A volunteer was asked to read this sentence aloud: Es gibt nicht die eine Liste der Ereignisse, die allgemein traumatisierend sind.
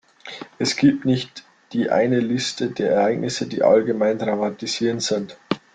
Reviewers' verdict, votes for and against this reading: accepted, 2, 1